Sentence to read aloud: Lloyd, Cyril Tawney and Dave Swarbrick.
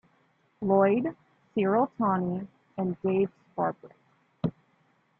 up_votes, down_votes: 1, 2